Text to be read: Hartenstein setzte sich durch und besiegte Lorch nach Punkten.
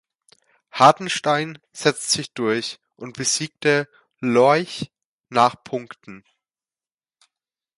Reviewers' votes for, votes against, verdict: 0, 2, rejected